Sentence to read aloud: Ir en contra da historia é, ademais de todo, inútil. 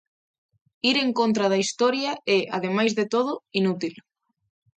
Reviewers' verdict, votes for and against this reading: accepted, 3, 0